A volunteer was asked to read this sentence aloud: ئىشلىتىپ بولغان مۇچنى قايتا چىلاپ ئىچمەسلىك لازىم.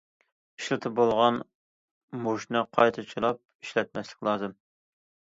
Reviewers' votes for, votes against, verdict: 0, 2, rejected